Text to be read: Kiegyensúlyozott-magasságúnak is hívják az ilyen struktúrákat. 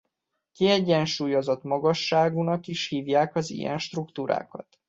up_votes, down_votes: 2, 0